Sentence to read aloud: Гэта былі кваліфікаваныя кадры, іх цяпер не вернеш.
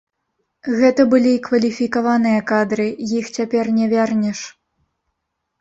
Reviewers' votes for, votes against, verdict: 1, 2, rejected